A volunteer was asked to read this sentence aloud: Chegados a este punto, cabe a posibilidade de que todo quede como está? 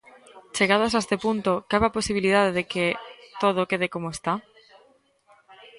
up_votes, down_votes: 1, 2